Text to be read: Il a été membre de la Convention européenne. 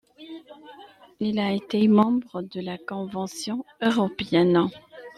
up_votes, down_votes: 1, 2